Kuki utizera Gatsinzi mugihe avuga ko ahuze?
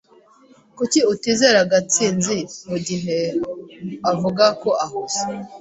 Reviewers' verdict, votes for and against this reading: accepted, 2, 0